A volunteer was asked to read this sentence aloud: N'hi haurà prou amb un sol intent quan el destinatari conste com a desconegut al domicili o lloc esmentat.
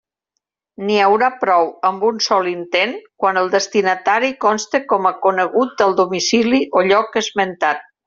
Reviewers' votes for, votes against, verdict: 0, 2, rejected